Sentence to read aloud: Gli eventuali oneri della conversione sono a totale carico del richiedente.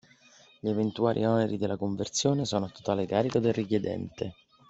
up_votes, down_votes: 4, 0